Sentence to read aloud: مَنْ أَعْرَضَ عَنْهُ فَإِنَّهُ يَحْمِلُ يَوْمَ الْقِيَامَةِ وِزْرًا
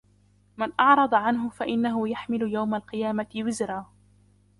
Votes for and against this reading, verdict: 0, 2, rejected